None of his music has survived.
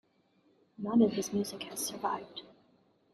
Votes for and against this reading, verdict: 2, 1, accepted